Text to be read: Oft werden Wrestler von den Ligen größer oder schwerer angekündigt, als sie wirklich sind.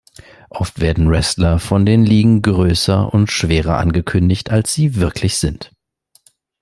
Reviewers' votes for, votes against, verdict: 1, 2, rejected